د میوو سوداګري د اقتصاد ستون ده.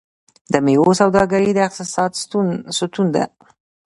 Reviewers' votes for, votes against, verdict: 2, 0, accepted